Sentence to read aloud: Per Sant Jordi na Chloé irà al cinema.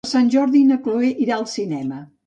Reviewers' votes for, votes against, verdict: 0, 2, rejected